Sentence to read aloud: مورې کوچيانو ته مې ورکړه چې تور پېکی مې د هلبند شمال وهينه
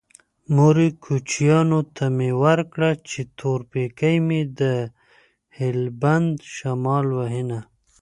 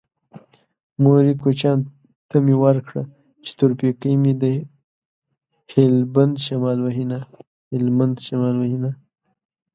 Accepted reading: first